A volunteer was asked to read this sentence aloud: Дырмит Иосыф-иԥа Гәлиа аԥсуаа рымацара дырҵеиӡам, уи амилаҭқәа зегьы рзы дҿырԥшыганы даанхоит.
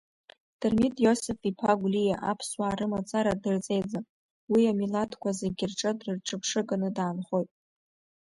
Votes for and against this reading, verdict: 2, 0, accepted